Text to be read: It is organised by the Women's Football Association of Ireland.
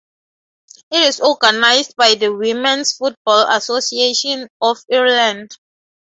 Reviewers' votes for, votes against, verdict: 0, 6, rejected